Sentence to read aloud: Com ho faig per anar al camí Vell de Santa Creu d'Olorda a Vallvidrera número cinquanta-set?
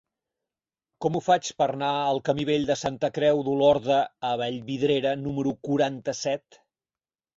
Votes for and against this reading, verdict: 0, 4, rejected